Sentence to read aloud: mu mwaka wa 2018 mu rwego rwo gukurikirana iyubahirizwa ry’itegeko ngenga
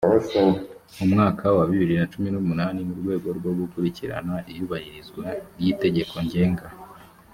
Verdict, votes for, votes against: rejected, 0, 2